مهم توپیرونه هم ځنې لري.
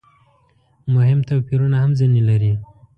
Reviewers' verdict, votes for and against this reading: accepted, 2, 0